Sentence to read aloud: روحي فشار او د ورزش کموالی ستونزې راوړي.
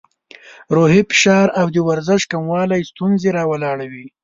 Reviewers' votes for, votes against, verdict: 1, 2, rejected